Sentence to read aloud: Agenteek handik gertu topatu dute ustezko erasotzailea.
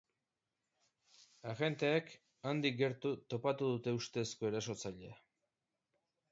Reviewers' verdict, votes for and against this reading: accepted, 2, 0